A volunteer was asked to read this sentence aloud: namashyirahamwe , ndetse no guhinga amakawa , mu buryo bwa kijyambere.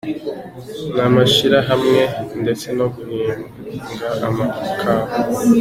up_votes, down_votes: 1, 2